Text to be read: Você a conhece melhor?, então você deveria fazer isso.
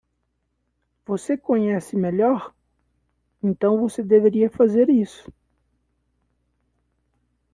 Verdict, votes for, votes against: rejected, 0, 2